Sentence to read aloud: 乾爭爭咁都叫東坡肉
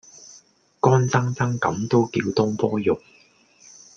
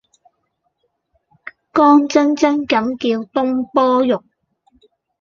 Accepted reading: first